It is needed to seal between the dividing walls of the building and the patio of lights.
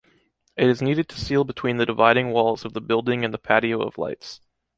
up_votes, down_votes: 2, 0